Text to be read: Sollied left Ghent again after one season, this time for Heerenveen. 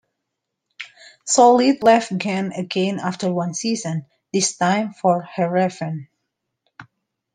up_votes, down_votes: 0, 2